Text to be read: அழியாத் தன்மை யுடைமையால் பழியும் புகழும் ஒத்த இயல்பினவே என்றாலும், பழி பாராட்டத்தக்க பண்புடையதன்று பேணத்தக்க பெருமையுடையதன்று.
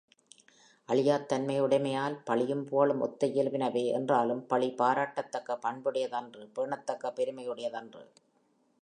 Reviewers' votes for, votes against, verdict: 2, 0, accepted